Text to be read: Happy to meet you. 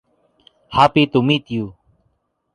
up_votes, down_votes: 2, 0